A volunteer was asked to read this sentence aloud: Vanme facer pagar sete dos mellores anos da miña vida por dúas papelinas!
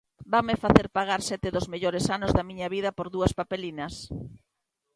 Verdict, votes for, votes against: accepted, 2, 0